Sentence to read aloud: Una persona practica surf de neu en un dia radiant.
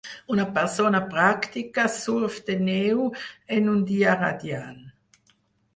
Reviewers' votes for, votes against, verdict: 2, 4, rejected